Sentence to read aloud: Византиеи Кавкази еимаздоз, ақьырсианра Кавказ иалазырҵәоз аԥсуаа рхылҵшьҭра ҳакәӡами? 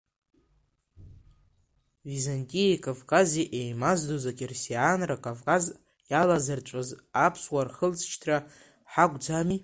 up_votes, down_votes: 0, 2